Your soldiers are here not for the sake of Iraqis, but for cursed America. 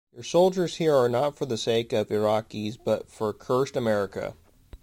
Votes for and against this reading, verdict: 0, 2, rejected